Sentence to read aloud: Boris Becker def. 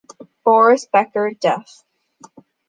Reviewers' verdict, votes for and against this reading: accepted, 2, 1